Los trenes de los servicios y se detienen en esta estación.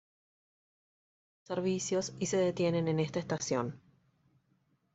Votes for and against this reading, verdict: 1, 2, rejected